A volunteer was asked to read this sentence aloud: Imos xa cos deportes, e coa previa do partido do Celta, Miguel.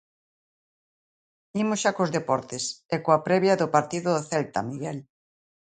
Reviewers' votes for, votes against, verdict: 2, 0, accepted